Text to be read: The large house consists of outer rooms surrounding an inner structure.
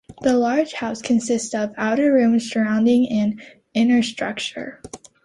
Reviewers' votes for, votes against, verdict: 2, 0, accepted